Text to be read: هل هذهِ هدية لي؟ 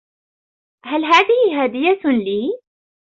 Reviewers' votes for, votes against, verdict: 0, 2, rejected